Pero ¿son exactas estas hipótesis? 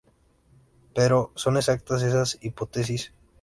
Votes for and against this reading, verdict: 2, 0, accepted